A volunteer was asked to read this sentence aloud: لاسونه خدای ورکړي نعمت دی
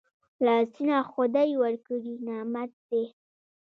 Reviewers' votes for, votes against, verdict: 1, 2, rejected